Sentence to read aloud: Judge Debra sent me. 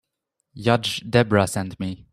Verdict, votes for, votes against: rejected, 1, 2